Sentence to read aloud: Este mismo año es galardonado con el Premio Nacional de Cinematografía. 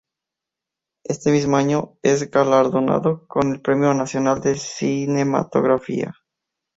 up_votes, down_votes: 2, 0